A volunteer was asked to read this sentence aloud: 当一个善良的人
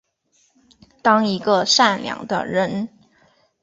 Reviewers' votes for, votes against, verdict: 3, 0, accepted